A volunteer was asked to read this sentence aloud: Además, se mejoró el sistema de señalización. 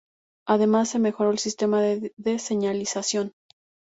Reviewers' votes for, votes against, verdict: 0, 2, rejected